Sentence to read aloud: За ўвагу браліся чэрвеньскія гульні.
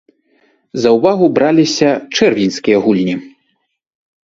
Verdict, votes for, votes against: accepted, 2, 0